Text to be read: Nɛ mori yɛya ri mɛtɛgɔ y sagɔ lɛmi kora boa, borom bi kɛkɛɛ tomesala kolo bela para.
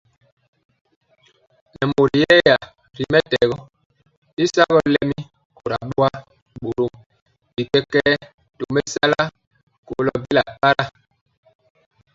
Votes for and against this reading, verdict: 0, 2, rejected